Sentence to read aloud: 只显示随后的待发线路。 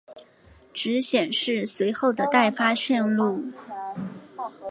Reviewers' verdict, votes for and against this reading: accepted, 4, 0